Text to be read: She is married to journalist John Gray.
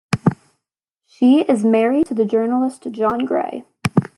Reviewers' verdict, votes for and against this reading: rejected, 1, 2